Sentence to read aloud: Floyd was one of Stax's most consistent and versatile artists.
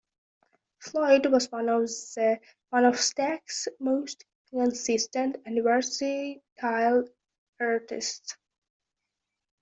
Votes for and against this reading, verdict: 0, 2, rejected